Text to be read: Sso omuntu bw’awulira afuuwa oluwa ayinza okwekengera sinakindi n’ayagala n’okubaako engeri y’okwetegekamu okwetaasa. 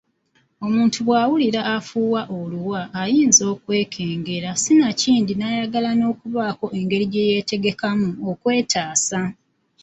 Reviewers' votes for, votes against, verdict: 0, 2, rejected